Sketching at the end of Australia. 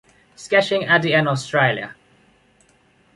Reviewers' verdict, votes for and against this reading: accepted, 2, 1